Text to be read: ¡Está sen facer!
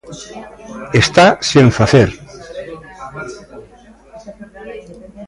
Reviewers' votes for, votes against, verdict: 1, 2, rejected